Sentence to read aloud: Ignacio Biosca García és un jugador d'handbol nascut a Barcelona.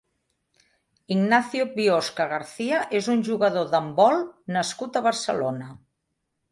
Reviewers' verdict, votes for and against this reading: accepted, 2, 0